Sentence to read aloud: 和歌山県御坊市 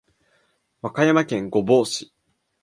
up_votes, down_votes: 2, 0